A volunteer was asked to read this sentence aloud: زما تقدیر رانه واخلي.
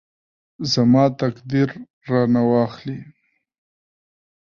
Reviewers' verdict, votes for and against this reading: rejected, 1, 2